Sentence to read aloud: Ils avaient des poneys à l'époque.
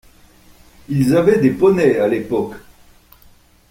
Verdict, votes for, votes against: accepted, 2, 0